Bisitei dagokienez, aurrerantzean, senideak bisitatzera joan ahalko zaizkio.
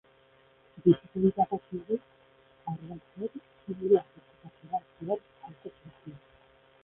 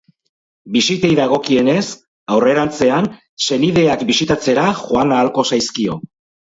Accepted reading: second